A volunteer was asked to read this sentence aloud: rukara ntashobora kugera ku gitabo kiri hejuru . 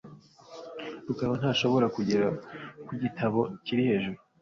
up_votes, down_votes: 2, 0